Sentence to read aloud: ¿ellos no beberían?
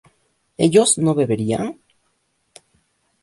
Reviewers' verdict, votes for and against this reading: accepted, 2, 0